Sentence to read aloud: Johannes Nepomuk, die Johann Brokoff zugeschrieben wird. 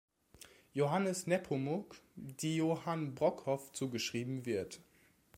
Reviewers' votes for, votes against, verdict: 2, 0, accepted